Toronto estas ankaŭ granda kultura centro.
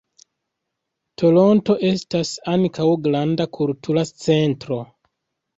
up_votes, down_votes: 2, 0